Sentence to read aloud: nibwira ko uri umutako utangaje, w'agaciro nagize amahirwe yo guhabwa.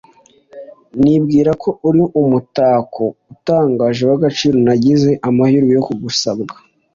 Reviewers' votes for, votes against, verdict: 1, 2, rejected